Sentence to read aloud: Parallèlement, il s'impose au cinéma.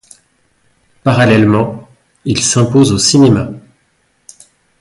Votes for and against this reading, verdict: 2, 1, accepted